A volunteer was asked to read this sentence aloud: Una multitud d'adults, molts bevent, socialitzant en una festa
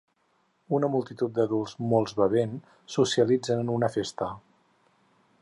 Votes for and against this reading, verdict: 2, 4, rejected